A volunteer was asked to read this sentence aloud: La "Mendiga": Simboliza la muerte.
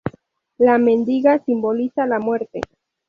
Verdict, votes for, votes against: accepted, 2, 0